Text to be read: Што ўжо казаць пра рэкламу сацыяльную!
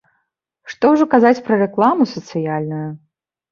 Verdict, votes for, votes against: accepted, 2, 0